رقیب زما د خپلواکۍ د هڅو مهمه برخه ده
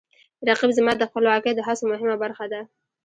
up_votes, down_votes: 2, 1